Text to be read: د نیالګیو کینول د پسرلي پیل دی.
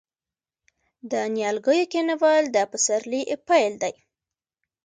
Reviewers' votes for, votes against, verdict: 2, 0, accepted